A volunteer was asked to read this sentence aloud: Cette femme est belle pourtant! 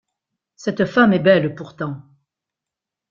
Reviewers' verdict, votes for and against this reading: rejected, 1, 2